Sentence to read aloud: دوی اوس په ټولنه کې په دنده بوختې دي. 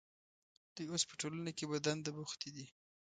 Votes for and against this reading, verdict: 2, 0, accepted